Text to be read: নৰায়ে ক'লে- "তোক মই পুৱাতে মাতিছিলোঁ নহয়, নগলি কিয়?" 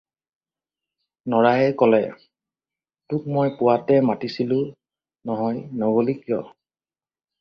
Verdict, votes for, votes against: accepted, 4, 0